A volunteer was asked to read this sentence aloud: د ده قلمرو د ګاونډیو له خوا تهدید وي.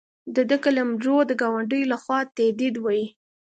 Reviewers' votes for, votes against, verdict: 2, 0, accepted